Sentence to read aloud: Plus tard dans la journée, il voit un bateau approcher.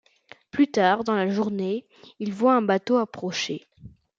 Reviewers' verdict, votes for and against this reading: accepted, 2, 0